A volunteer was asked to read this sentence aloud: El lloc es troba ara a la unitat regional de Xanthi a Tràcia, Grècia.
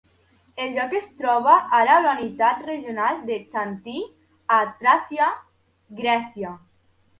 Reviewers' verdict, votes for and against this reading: accepted, 2, 0